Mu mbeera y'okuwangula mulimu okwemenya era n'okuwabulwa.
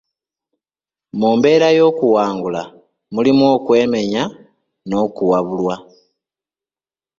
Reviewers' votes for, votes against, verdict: 0, 2, rejected